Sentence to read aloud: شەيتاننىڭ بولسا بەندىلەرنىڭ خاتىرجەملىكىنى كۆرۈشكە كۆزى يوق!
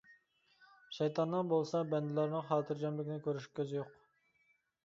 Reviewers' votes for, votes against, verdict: 2, 0, accepted